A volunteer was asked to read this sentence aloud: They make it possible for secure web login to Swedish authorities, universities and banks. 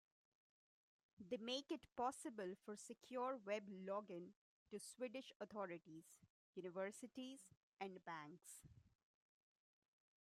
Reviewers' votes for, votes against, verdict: 1, 2, rejected